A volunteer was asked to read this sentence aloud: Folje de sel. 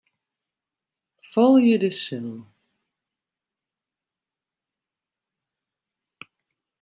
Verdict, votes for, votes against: rejected, 0, 2